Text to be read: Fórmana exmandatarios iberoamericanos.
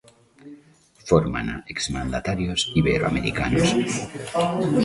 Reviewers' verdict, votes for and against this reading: accepted, 2, 1